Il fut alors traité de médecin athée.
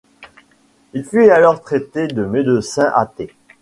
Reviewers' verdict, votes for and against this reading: accepted, 2, 0